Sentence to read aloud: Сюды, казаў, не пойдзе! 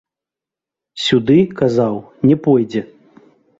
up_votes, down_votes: 0, 2